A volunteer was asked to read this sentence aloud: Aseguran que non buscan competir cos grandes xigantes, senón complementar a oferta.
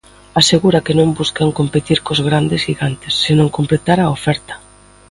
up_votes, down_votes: 0, 2